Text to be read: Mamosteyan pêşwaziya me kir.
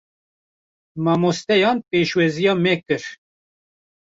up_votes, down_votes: 1, 2